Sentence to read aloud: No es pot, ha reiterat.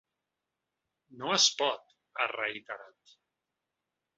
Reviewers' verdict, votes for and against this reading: accepted, 3, 0